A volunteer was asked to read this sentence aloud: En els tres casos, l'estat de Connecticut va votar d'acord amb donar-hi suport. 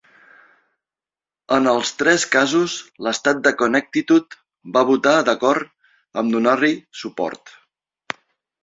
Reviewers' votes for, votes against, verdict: 2, 1, accepted